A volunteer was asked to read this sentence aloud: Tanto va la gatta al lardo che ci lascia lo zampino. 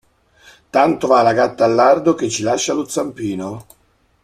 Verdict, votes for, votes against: accepted, 2, 0